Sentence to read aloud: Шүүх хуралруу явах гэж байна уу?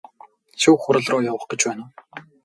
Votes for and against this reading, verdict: 2, 0, accepted